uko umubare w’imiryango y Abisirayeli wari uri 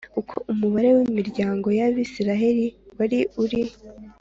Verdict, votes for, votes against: accepted, 3, 0